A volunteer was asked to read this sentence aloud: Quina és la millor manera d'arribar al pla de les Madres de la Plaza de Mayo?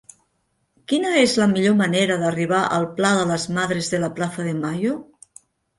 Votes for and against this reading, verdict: 3, 0, accepted